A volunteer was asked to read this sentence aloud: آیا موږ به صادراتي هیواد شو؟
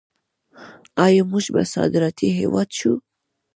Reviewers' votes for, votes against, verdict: 2, 1, accepted